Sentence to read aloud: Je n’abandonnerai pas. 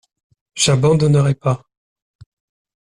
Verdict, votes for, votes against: rejected, 0, 2